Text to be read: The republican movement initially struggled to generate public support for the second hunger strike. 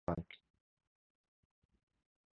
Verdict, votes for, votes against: rejected, 0, 2